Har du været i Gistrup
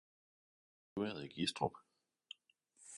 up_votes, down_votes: 0, 2